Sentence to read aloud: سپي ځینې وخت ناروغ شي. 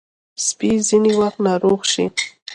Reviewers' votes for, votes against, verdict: 2, 0, accepted